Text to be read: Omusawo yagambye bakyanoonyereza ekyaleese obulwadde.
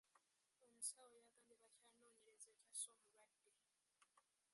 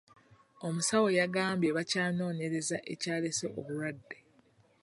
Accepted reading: second